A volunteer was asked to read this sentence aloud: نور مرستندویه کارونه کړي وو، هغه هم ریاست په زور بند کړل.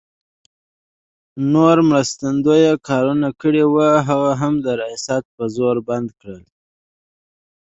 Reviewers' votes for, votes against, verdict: 2, 0, accepted